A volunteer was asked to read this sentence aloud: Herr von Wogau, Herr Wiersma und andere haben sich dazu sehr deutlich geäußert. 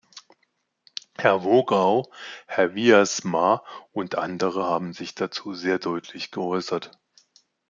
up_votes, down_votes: 0, 2